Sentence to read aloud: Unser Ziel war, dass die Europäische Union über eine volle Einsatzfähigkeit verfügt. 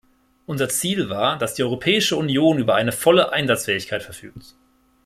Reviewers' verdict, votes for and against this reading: rejected, 0, 2